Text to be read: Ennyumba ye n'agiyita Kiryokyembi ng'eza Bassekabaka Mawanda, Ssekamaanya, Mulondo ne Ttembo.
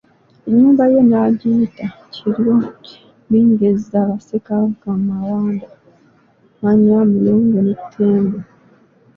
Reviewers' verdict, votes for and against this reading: rejected, 0, 3